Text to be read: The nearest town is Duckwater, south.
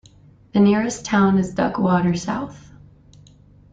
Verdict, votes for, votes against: accepted, 2, 0